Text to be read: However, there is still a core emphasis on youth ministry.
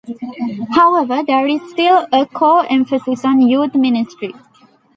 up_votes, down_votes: 2, 1